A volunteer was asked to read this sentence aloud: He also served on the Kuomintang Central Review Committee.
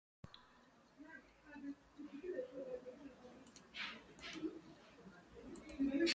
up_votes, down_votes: 0, 2